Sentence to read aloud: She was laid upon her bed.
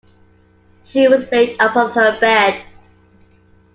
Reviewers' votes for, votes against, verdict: 2, 0, accepted